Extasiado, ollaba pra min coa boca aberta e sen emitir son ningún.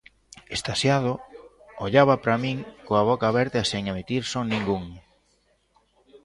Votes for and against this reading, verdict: 2, 0, accepted